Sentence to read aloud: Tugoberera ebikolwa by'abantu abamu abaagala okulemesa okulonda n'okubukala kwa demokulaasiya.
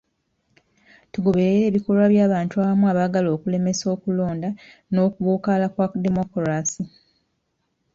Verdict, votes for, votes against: rejected, 1, 2